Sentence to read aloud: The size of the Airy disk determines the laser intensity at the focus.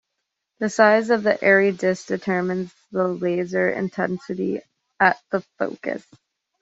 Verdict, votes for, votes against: accepted, 2, 0